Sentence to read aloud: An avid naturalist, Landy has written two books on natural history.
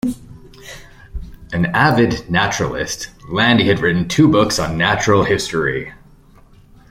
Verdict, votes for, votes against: rejected, 0, 2